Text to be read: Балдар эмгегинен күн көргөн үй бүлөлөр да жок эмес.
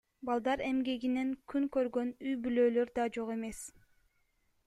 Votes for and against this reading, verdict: 1, 2, rejected